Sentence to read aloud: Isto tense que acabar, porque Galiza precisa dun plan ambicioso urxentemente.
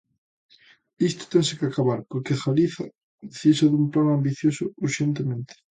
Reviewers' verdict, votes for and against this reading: accepted, 2, 0